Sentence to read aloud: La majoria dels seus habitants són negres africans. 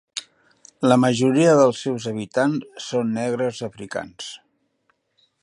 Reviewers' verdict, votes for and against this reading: rejected, 1, 2